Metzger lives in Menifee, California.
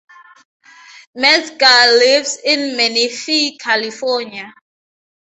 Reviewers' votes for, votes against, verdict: 2, 0, accepted